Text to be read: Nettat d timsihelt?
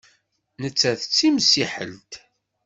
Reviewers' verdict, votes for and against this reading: rejected, 1, 2